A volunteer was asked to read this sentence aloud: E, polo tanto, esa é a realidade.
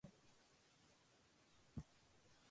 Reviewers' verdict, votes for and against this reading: rejected, 0, 6